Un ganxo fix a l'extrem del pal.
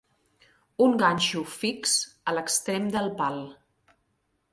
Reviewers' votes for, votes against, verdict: 3, 0, accepted